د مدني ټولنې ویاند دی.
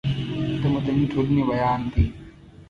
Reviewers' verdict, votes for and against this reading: accepted, 2, 0